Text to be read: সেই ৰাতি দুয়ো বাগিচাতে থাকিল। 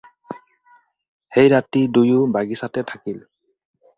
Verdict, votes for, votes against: accepted, 4, 0